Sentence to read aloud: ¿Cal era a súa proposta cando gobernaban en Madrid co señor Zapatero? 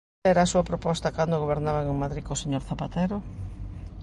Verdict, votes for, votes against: rejected, 0, 2